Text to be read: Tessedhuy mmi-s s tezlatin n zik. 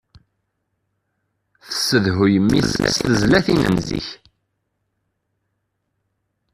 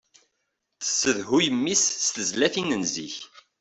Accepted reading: second